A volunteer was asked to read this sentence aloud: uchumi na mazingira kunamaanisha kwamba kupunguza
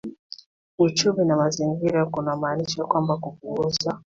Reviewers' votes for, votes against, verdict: 2, 1, accepted